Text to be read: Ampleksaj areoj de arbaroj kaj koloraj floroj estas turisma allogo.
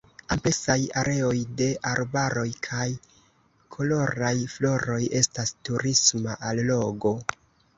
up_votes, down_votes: 1, 2